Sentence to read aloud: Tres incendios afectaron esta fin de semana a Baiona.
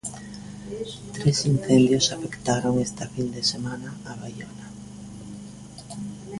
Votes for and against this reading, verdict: 0, 2, rejected